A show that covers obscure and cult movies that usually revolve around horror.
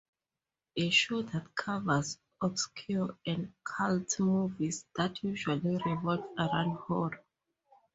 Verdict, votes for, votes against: rejected, 2, 2